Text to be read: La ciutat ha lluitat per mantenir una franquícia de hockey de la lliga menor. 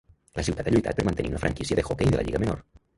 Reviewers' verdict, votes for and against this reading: rejected, 1, 2